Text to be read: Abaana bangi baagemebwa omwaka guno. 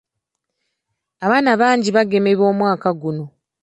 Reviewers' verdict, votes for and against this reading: accepted, 2, 0